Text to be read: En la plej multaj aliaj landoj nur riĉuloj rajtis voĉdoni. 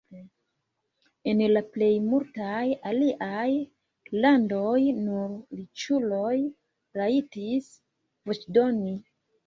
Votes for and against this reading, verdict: 1, 2, rejected